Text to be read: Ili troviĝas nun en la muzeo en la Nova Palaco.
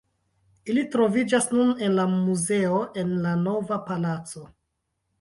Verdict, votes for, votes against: accepted, 2, 0